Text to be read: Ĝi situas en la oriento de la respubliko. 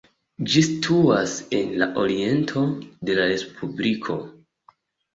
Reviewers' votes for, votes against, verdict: 2, 0, accepted